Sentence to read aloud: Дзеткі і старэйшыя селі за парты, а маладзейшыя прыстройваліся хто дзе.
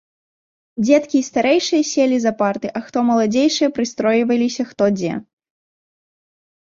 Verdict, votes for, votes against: rejected, 0, 2